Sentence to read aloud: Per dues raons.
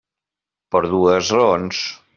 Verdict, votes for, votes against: accepted, 3, 1